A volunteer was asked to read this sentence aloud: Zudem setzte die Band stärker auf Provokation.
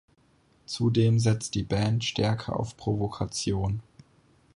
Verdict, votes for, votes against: rejected, 0, 4